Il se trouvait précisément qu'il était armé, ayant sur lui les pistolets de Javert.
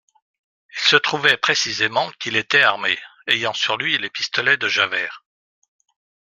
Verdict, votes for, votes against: accepted, 2, 0